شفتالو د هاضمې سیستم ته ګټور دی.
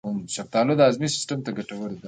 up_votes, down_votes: 1, 2